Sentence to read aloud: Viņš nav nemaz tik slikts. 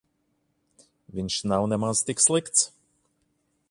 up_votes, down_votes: 2, 0